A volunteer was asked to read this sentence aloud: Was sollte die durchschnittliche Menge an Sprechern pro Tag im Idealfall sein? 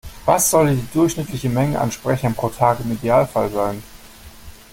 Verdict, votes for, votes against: rejected, 1, 2